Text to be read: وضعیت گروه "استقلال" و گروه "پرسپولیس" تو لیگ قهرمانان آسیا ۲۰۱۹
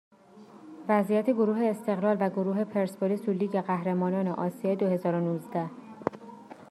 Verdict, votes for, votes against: rejected, 0, 2